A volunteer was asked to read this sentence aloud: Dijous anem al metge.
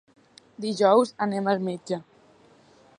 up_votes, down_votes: 3, 0